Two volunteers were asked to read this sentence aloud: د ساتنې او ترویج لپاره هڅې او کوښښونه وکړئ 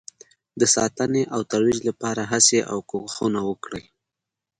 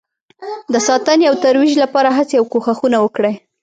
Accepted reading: first